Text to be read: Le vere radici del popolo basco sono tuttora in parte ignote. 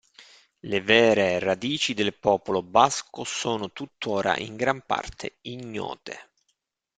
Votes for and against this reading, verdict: 1, 2, rejected